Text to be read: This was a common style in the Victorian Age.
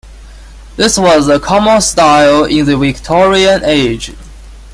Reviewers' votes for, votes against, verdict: 2, 0, accepted